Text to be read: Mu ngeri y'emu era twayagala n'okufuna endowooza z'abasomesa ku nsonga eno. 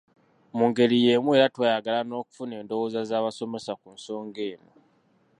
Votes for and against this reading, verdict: 2, 0, accepted